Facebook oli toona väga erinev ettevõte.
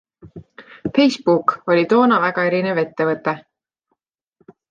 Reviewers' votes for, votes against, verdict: 2, 0, accepted